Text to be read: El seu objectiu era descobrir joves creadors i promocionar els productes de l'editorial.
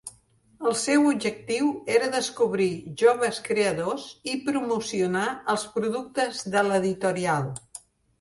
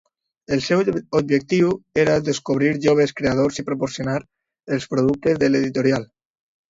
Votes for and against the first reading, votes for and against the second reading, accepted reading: 3, 0, 0, 2, first